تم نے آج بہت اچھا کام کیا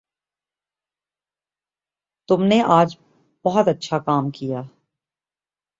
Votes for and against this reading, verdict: 1, 2, rejected